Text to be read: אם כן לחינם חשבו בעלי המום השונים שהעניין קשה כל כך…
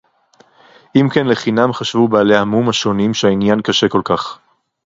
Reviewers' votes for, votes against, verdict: 4, 0, accepted